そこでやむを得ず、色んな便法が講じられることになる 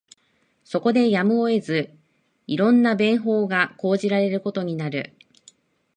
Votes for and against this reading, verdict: 0, 2, rejected